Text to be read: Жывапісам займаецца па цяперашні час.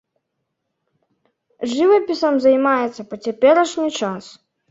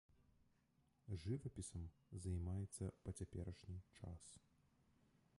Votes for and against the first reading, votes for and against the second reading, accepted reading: 2, 0, 1, 2, first